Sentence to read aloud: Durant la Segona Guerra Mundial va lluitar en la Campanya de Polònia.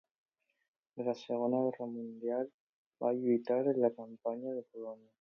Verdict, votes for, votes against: accepted, 2, 0